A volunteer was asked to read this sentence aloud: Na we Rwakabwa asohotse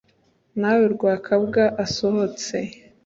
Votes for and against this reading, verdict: 2, 0, accepted